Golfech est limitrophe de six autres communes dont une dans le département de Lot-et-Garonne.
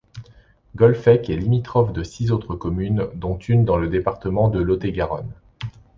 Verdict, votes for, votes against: accepted, 2, 0